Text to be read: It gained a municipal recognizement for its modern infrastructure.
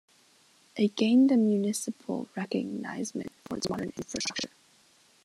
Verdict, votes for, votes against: rejected, 0, 2